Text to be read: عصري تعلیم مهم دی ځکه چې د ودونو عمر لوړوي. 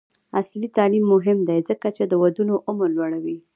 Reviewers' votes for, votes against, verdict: 2, 1, accepted